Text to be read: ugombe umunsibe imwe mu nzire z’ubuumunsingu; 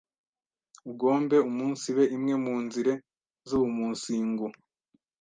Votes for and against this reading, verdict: 1, 2, rejected